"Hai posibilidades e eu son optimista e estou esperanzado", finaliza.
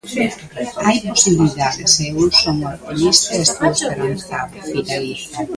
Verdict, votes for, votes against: rejected, 0, 2